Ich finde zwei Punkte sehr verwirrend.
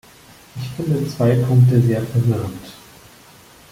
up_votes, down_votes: 1, 2